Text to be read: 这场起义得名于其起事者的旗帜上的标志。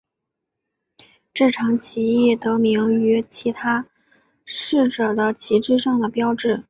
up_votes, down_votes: 3, 1